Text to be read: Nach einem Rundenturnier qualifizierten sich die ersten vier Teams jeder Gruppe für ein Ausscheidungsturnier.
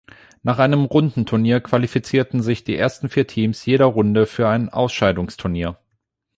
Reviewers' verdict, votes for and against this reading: rejected, 0, 8